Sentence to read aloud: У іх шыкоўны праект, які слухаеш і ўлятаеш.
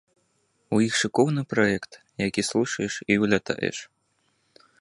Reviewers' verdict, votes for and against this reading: rejected, 0, 2